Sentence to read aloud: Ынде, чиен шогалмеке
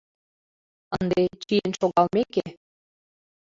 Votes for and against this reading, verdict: 2, 1, accepted